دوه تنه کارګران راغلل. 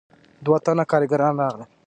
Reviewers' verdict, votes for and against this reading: accepted, 2, 0